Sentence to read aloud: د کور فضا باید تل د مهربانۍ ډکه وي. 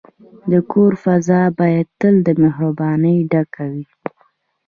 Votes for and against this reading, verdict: 2, 0, accepted